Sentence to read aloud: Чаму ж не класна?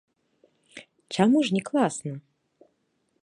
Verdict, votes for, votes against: accepted, 2, 0